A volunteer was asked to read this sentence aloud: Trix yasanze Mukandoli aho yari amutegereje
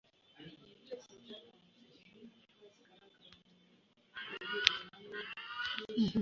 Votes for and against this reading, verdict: 1, 2, rejected